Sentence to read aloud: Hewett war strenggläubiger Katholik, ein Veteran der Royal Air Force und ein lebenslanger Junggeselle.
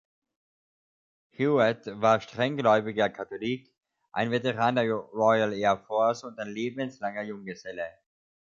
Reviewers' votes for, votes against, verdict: 1, 2, rejected